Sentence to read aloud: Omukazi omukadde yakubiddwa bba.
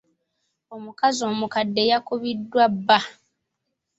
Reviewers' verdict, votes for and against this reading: accepted, 3, 0